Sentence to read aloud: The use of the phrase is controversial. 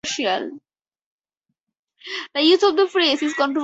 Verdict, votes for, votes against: rejected, 2, 2